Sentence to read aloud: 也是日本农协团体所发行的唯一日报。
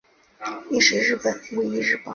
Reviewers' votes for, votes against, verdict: 1, 4, rejected